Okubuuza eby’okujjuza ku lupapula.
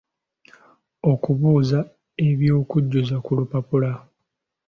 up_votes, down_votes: 2, 0